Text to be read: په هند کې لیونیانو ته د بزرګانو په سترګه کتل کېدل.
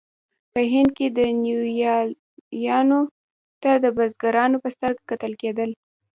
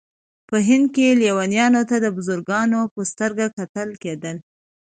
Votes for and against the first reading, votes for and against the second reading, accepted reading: 1, 2, 2, 0, second